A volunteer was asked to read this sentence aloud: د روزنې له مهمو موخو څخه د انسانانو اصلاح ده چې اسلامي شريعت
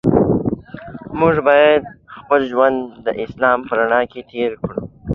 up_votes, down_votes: 0, 2